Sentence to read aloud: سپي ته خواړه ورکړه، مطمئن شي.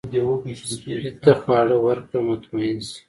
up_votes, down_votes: 2, 0